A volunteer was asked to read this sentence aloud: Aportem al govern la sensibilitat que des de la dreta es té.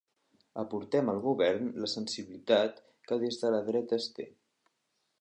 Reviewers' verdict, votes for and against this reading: accepted, 4, 0